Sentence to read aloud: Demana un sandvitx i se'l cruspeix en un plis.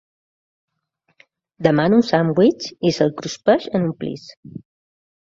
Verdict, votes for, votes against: accepted, 2, 0